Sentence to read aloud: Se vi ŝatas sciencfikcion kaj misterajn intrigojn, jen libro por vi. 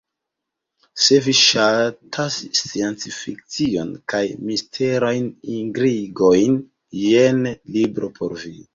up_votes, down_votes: 1, 2